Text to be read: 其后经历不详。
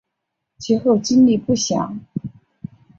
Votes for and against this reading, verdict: 3, 1, accepted